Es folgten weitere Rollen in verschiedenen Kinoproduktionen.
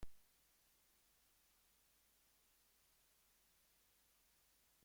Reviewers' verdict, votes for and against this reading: rejected, 0, 2